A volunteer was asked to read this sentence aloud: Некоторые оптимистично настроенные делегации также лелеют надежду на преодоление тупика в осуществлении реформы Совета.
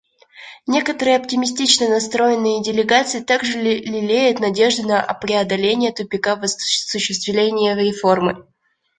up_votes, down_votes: 0, 2